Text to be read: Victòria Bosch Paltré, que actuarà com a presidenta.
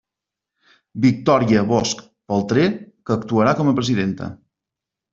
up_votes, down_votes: 2, 0